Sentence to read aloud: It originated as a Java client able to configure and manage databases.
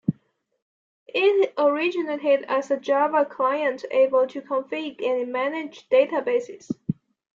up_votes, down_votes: 2, 0